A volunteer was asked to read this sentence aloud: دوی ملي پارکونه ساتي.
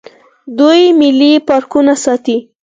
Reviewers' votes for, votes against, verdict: 4, 2, accepted